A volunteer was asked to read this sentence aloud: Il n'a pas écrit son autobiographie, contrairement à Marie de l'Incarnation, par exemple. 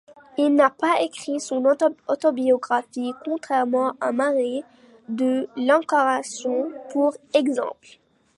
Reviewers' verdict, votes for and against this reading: rejected, 1, 2